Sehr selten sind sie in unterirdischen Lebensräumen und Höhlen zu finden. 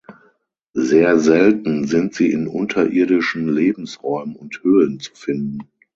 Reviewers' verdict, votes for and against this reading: accepted, 6, 0